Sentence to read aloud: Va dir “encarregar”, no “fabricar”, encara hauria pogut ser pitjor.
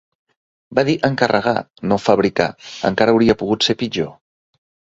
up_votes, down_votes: 2, 0